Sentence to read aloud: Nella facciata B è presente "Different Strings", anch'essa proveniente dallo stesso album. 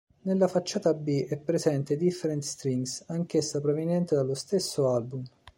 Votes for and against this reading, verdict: 2, 0, accepted